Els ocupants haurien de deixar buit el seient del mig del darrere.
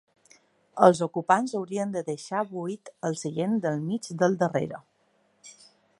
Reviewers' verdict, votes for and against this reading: accepted, 4, 0